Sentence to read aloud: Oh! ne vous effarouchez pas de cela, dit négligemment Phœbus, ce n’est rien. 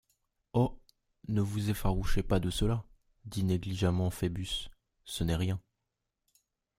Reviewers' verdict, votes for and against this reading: accepted, 2, 0